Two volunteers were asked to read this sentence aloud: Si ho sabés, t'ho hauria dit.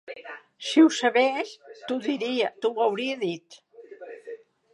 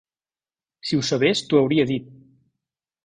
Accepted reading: second